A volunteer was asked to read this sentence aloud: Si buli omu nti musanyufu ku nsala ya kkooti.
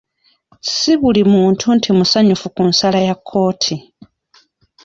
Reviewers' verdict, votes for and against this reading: rejected, 1, 2